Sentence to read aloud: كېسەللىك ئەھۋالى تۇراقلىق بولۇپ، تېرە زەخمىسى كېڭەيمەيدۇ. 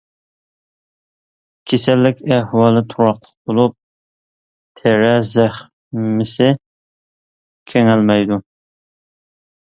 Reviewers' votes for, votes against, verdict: 0, 2, rejected